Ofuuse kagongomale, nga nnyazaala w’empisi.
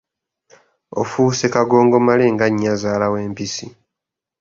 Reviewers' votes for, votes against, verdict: 2, 0, accepted